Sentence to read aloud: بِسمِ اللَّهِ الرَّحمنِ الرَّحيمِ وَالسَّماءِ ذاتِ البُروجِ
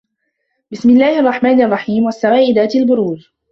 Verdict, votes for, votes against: accepted, 2, 0